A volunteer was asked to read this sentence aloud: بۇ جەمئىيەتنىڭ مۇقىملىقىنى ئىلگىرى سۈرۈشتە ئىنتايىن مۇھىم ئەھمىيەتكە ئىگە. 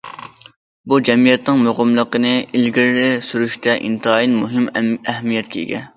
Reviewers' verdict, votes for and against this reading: rejected, 1, 2